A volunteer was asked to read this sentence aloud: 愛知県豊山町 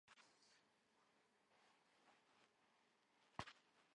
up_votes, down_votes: 1, 10